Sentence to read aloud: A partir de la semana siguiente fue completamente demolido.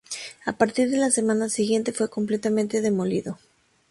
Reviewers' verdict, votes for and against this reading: accepted, 2, 0